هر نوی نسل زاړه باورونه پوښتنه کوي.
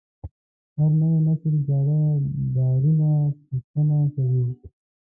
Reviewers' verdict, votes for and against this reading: rejected, 0, 2